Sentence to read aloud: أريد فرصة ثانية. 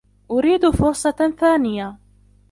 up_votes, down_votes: 1, 2